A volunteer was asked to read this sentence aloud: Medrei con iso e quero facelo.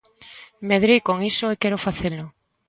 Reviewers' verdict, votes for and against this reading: accepted, 2, 0